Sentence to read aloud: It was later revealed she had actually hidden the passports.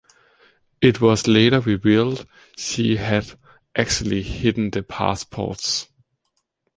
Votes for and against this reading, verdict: 1, 2, rejected